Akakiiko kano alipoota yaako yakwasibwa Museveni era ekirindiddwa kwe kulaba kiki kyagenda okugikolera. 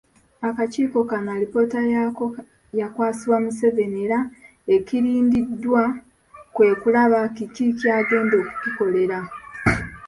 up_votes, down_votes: 2, 0